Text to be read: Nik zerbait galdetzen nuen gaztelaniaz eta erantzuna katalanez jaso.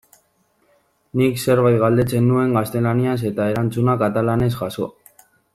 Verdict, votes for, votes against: rejected, 1, 2